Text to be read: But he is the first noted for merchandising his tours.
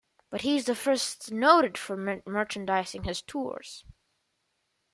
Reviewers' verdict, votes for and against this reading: rejected, 0, 2